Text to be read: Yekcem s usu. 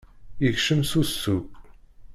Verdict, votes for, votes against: accepted, 2, 0